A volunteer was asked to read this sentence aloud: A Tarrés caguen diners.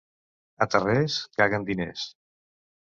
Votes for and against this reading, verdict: 2, 0, accepted